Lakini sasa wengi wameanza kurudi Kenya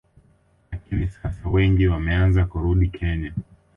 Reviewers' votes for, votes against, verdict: 2, 1, accepted